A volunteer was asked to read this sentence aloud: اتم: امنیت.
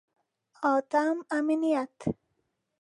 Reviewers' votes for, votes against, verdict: 2, 0, accepted